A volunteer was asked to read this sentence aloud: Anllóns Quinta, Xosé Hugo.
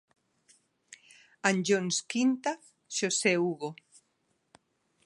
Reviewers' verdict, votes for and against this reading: accepted, 2, 0